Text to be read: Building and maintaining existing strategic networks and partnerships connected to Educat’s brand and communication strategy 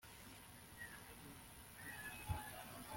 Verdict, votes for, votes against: rejected, 0, 2